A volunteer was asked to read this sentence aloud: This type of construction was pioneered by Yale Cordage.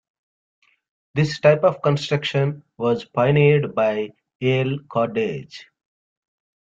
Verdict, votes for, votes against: accepted, 2, 0